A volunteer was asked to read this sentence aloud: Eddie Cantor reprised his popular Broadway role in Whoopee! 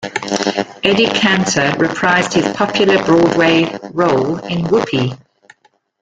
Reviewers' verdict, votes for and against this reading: accepted, 2, 0